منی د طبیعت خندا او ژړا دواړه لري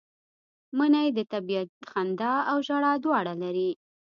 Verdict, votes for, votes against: accepted, 2, 0